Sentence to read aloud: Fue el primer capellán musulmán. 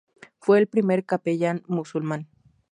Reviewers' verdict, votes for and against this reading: accepted, 4, 0